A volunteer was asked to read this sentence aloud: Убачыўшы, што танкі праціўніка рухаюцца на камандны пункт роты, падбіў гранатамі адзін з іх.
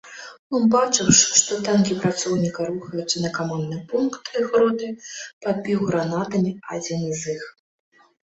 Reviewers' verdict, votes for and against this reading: rejected, 0, 2